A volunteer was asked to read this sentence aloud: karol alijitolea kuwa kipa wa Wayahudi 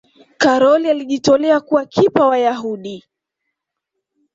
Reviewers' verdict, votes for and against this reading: accepted, 2, 0